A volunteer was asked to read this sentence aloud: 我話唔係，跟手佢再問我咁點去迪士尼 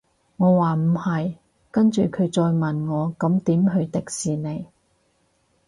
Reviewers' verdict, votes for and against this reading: rejected, 2, 4